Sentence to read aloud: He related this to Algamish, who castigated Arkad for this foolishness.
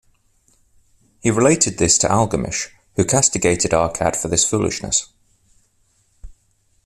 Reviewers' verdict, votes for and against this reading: accepted, 2, 0